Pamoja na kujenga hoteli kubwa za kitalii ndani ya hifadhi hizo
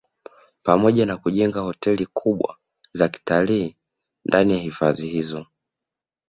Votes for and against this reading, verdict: 2, 0, accepted